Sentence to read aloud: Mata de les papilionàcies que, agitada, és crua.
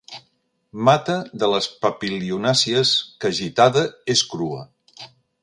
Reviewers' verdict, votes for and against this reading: accepted, 2, 0